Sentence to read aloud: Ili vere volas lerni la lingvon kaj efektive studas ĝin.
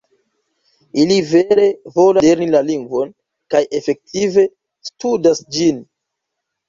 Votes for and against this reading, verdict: 1, 2, rejected